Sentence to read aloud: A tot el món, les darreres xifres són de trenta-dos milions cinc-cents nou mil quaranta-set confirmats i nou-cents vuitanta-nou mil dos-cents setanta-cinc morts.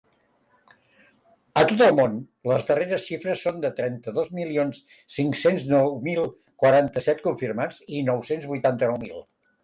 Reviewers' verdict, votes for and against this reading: rejected, 0, 2